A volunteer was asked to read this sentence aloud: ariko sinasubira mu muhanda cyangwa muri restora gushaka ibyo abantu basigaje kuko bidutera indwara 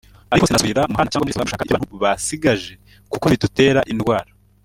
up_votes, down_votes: 0, 2